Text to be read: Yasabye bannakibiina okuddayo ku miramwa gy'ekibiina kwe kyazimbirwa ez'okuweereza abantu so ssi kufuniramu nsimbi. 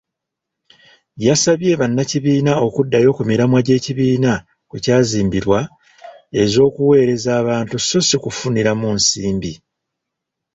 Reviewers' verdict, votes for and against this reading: rejected, 1, 2